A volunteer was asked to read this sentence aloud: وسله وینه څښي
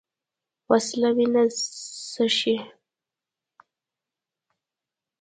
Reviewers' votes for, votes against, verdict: 1, 2, rejected